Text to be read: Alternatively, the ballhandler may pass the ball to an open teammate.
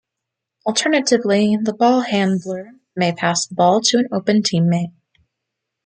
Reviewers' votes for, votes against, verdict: 1, 2, rejected